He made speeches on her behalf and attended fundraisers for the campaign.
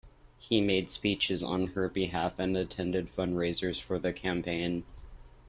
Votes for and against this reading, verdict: 3, 1, accepted